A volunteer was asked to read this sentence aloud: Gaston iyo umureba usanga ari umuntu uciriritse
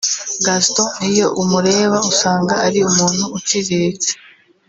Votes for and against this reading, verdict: 1, 2, rejected